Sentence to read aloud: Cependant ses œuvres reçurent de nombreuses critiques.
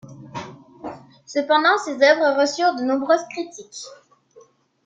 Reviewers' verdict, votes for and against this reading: accepted, 3, 0